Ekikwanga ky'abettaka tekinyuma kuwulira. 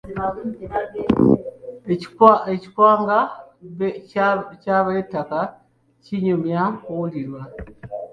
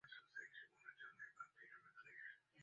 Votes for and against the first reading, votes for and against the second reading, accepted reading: 2, 1, 1, 2, first